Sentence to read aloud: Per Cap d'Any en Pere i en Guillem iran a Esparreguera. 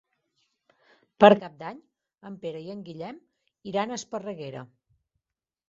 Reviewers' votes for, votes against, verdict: 0, 2, rejected